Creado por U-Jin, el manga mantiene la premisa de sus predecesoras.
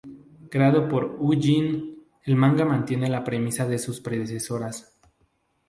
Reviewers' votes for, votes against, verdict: 2, 0, accepted